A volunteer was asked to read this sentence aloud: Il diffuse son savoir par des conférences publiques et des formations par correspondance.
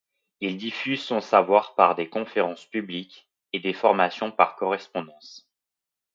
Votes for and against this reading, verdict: 2, 0, accepted